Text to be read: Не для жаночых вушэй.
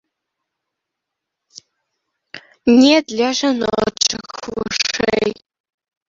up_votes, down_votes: 0, 2